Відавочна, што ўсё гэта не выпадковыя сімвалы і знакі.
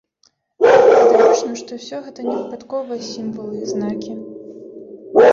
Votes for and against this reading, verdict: 0, 2, rejected